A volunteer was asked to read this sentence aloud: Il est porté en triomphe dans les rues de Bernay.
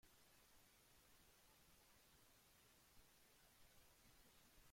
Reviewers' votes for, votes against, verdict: 0, 2, rejected